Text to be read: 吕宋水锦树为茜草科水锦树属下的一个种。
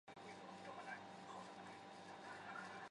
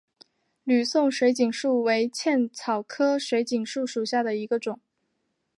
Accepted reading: second